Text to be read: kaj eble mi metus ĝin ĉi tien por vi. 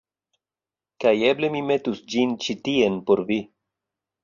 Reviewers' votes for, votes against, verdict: 2, 0, accepted